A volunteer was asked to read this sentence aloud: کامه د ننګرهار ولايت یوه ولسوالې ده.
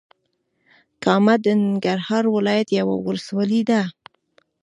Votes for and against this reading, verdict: 2, 1, accepted